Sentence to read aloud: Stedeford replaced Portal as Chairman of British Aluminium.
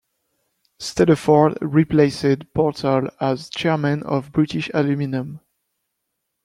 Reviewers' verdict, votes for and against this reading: rejected, 1, 2